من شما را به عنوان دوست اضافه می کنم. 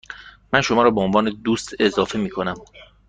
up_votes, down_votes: 2, 0